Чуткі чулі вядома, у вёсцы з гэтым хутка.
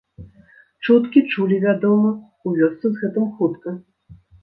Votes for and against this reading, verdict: 2, 0, accepted